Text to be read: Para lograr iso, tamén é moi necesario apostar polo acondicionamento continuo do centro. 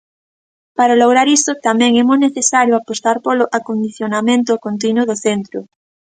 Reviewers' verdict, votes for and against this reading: accepted, 2, 0